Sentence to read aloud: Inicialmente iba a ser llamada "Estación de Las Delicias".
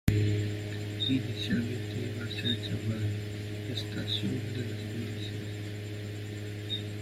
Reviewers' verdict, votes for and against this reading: rejected, 0, 2